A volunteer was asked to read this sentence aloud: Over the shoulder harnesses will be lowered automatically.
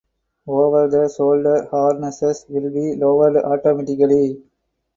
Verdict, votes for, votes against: rejected, 2, 4